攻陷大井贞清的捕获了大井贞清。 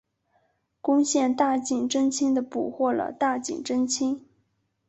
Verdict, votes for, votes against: accepted, 2, 0